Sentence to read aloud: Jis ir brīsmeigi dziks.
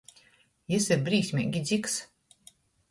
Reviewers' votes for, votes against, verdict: 2, 0, accepted